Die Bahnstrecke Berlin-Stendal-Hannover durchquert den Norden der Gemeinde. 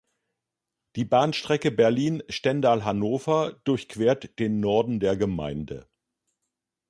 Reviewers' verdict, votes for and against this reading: accepted, 3, 0